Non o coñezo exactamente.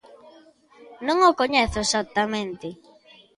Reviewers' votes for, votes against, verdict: 2, 0, accepted